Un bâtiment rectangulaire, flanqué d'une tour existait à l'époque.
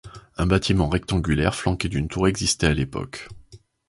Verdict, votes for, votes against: accepted, 2, 0